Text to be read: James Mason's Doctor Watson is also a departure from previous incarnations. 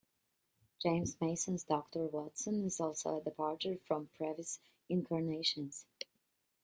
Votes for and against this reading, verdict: 2, 1, accepted